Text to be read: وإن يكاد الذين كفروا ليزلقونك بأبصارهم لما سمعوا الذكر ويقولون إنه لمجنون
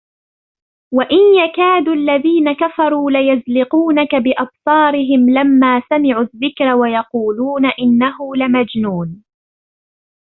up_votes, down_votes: 2, 0